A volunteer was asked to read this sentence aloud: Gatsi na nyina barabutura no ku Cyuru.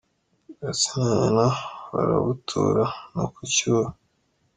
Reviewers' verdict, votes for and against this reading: rejected, 1, 2